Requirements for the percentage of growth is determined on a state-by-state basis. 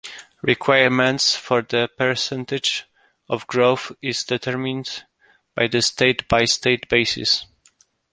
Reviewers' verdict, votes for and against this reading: rejected, 0, 2